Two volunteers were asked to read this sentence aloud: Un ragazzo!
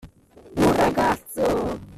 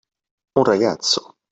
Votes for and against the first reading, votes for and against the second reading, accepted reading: 0, 2, 2, 0, second